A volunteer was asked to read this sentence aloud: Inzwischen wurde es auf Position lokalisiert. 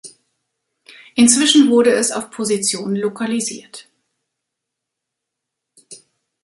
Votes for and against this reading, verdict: 3, 0, accepted